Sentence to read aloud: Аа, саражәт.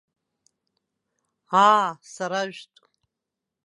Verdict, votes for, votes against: rejected, 1, 2